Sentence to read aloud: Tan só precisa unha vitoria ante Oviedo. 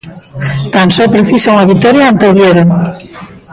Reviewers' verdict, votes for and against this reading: rejected, 1, 2